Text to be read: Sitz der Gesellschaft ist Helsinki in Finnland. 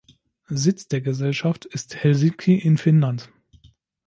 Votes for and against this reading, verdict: 1, 2, rejected